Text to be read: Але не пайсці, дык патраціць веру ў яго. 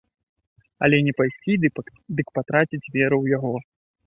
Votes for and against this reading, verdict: 0, 2, rejected